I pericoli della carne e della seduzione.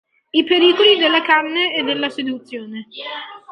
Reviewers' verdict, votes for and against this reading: accepted, 2, 0